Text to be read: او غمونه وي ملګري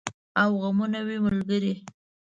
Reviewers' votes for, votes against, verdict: 2, 0, accepted